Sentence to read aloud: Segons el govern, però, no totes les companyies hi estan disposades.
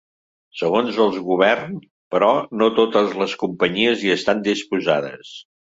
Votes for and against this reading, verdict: 1, 2, rejected